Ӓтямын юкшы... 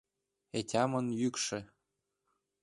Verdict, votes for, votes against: accepted, 2, 0